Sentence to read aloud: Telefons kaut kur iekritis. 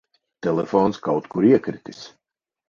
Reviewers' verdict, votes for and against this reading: accepted, 4, 0